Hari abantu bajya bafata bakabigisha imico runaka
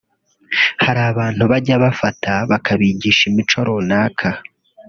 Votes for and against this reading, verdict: 1, 3, rejected